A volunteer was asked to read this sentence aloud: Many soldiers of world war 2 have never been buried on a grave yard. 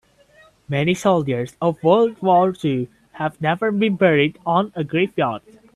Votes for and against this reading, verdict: 0, 2, rejected